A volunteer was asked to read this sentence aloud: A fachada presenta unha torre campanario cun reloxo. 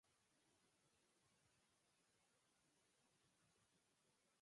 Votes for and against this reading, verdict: 0, 4, rejected